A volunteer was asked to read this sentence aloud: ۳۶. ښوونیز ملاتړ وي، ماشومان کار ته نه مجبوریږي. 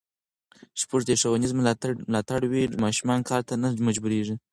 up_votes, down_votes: 0, 2